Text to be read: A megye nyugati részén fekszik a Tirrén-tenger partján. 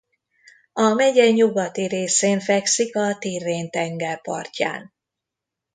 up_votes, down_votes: 2, 0